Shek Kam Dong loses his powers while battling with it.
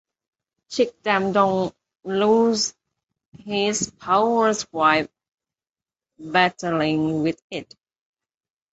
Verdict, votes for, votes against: rejected, 0, 2